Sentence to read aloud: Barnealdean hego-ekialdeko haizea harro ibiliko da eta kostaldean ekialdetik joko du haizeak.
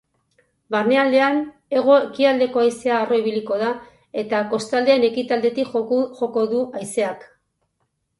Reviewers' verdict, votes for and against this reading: rejected, 0, 4